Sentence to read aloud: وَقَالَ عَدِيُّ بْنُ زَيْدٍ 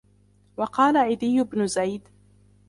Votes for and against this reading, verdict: 1, 2, rejected